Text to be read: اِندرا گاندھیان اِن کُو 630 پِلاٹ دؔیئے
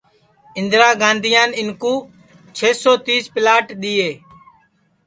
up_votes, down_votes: 0, 2